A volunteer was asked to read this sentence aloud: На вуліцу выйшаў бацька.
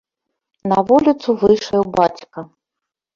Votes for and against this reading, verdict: 4, 1, accepted